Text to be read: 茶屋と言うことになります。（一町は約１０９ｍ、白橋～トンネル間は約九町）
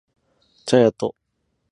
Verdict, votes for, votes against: rejected, 0, 2